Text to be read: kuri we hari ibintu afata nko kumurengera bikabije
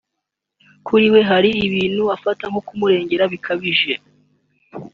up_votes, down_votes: 2, 0